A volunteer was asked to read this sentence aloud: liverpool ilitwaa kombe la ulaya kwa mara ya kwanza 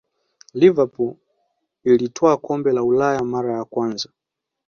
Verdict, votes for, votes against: rejected, 0, 2